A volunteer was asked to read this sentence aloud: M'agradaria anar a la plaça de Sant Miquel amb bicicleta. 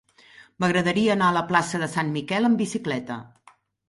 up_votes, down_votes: 3, 0